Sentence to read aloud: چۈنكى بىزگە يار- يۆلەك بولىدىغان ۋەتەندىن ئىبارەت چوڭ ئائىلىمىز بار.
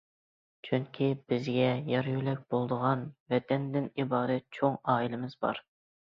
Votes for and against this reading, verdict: 2, 0, accepted